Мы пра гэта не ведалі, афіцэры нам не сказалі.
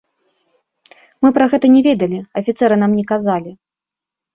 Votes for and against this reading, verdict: 0, 2, rejected